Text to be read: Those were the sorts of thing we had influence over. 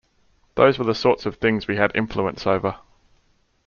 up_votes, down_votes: 2, 0